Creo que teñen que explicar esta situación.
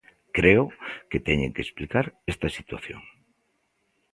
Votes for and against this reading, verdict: 2, 0, accepted